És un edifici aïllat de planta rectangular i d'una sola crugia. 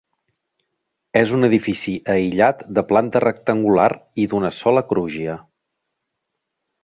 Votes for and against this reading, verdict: 0, 3, rejected